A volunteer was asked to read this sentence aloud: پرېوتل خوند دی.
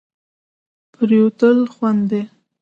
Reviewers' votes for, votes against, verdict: 2, 0, accepted